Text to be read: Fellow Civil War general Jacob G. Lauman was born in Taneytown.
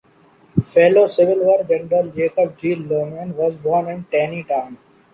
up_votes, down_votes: 2, 0